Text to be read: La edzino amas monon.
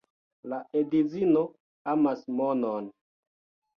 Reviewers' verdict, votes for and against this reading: accepted, 2, 1